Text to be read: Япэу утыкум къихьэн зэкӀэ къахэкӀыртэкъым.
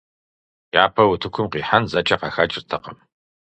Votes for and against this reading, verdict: 4, 0, accepted